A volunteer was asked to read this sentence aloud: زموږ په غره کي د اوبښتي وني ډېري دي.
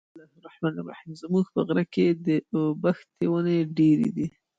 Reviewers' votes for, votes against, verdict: 2, 1, accepted